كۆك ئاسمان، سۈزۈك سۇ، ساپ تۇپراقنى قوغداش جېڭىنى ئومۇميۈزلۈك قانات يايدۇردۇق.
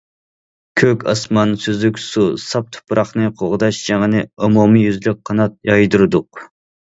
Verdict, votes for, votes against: accepted, 2, 0